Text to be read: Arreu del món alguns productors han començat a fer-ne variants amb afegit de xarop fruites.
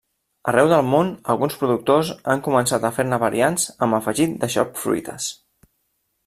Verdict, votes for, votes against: rejected, 0, 2